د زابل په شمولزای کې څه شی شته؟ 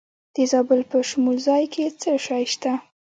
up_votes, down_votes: 1, 2